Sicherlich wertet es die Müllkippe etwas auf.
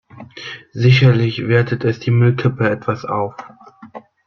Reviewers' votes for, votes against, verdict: 2, 0, accepted